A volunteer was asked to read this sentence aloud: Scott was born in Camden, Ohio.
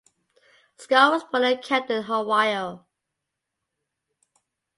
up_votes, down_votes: 0, 3